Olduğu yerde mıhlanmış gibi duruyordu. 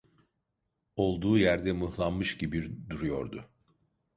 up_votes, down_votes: 0, 2